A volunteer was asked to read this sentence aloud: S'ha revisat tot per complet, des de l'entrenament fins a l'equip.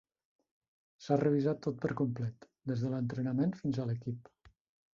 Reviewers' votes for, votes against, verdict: 1, 2, rejected